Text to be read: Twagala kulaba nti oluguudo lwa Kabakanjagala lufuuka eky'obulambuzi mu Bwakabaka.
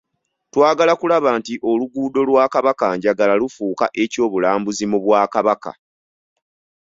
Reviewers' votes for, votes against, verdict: 2, 0, accepted